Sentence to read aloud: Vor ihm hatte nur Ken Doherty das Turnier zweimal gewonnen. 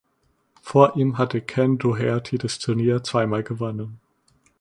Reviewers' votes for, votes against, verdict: 0, 2, rejected